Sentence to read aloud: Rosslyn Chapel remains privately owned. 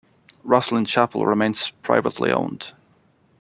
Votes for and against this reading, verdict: 1, 2, rejected